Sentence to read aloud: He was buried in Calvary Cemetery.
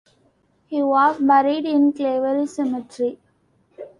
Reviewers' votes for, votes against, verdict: 0, 2, rejected